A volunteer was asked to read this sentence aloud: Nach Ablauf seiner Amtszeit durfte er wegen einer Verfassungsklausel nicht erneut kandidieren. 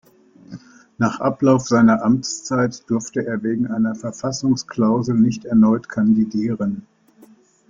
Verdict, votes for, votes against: accepted, 2, 0